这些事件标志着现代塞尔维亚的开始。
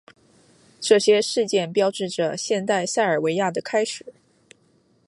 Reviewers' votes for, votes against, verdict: 2, 1, accepted